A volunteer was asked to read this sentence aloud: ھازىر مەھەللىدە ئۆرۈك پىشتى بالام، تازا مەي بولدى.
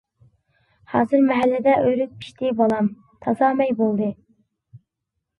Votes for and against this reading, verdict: 2, 1, accepted